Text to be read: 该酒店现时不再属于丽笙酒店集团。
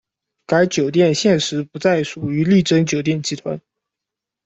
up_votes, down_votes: 0, 2